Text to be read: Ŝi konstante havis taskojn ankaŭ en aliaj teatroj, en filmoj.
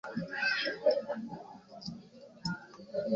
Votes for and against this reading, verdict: 0, 2, rejected